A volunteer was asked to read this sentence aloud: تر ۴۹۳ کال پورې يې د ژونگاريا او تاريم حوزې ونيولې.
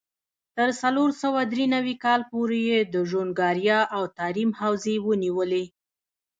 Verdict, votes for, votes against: rejected, 0, 2